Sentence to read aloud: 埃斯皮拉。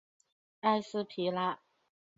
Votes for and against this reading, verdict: 6, 1, accepted